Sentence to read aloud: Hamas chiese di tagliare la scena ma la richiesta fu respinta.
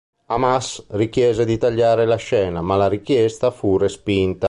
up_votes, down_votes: 0, 2